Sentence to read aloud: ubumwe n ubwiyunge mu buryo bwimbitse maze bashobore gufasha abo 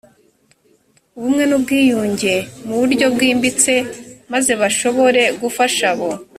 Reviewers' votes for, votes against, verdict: 2, 0, accepted